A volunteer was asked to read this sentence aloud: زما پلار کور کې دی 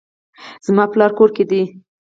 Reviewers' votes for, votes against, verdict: 4, 0, accepted